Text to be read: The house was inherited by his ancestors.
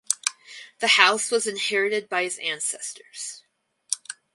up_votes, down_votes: 4, 0